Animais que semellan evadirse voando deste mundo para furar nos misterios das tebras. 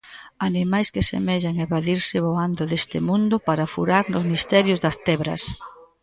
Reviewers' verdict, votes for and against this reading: accepted, 2, 0